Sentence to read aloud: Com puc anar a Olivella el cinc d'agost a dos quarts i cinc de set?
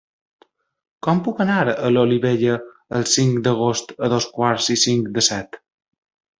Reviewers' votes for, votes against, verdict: 0, 2, rejected